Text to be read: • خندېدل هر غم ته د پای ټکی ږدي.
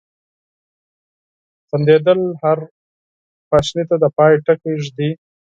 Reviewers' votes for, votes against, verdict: 0, 6, rejected